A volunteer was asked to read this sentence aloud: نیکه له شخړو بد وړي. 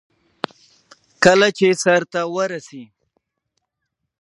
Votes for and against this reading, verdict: 0, 2, rejected